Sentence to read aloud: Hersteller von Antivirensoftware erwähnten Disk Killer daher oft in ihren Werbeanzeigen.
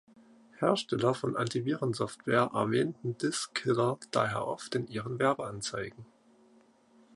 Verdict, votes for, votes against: accepted, 2, 0